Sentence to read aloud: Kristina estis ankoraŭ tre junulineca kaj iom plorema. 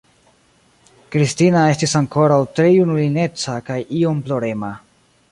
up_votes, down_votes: 2, 0